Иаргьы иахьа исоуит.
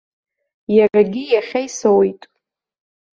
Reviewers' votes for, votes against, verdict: 0, 2, rejected